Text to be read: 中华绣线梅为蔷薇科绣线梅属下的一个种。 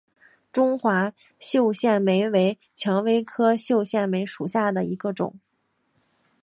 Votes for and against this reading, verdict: 2, 0, accepted